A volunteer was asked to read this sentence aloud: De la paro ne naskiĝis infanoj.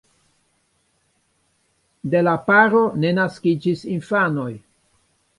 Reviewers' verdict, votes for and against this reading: rejected, 1, 2